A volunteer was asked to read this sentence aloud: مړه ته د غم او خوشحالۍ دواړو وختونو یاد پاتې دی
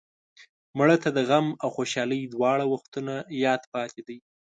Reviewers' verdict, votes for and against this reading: rejected, 1, 2